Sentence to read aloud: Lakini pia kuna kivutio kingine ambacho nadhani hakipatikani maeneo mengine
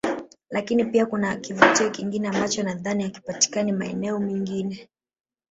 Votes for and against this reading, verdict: 1, 2, rejected